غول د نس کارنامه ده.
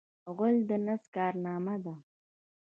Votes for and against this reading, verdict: 1, 2, rejected